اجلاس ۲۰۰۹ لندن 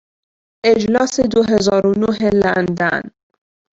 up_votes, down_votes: 0, 2